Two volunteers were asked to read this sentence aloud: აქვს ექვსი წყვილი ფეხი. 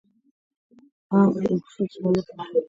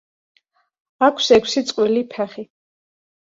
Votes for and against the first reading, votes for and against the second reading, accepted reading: 1, 2, 2, 0, second